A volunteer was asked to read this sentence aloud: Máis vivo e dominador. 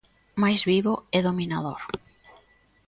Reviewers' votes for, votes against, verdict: 2, 0, accepted